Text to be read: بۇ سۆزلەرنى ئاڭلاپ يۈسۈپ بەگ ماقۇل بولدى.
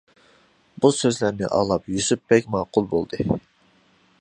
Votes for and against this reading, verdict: 2, 0, accepted